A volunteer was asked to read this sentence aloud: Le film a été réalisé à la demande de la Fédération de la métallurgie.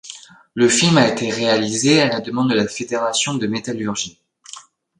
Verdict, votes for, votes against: rejected, 1, 2